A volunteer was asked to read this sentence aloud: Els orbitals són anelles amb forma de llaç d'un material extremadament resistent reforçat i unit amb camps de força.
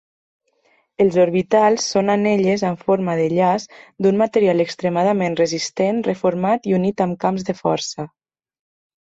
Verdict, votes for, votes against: rejected, 0, 2